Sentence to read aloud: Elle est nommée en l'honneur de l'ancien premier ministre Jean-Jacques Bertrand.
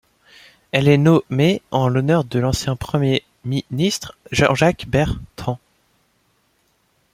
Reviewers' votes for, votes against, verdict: 2, 0, accepted